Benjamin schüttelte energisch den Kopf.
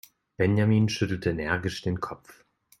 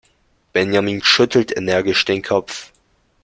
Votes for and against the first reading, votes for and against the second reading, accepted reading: 2, 0, 0, 2, first